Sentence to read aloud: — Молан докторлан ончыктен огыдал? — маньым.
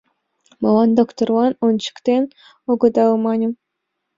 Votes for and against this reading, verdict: 2, 0, accepted